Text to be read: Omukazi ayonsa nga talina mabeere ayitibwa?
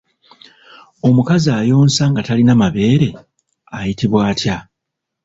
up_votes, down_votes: 1, 2